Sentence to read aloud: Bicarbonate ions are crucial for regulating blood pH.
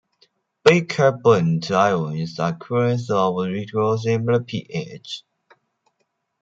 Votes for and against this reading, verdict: 0, 2, rejected